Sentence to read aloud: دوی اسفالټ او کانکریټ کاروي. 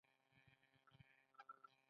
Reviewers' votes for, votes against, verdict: 1, 2, rejected